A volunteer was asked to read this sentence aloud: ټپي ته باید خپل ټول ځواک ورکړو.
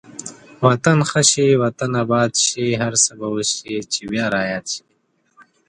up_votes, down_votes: 0, 3